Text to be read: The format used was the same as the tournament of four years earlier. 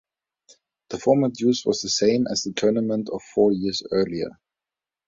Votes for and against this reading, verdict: 1, 2, rejected